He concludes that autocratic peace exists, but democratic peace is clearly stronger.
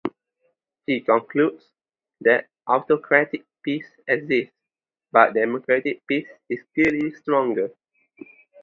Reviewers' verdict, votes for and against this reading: accepted, 2, 0